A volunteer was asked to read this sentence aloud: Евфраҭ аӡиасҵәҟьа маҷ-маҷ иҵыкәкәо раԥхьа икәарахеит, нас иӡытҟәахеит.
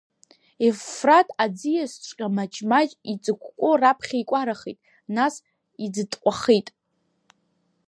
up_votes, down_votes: 1, 2